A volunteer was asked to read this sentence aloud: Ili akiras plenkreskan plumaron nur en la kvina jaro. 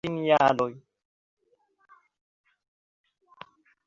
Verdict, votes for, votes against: accepted, 2, 0